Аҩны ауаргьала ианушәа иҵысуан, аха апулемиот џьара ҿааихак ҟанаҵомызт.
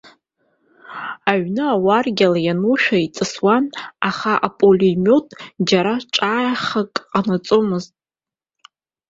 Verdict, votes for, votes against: accepted, 2, 0